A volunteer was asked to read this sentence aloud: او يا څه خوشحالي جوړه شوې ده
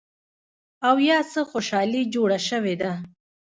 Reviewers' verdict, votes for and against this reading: accepted, 2, 1